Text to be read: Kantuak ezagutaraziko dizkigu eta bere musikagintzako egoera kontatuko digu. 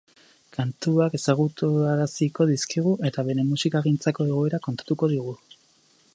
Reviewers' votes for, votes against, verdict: 0, 4, rejected